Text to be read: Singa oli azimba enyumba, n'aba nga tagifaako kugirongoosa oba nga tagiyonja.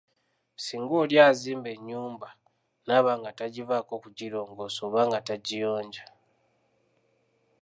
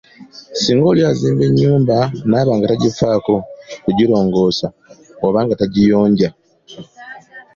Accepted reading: second